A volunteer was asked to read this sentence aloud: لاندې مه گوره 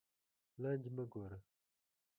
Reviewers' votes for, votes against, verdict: 2, 1, accepted